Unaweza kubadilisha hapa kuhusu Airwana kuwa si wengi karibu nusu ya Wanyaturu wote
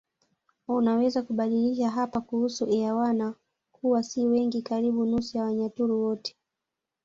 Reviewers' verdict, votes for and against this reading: accepted, 2, 0